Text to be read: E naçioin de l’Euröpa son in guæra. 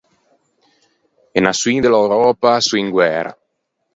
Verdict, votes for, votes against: accepted, 4, 0